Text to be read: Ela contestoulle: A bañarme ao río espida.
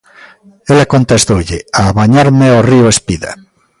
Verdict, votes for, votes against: accepted, 2, 0